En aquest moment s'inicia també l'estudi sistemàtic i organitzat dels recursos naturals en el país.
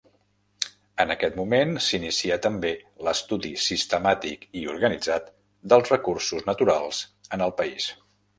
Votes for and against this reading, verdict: 1, 2, rejected